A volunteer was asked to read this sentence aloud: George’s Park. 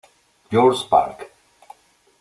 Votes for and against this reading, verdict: 1, 2, rejected